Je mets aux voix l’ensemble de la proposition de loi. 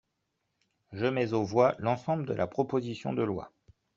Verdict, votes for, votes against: accepted, 2, 0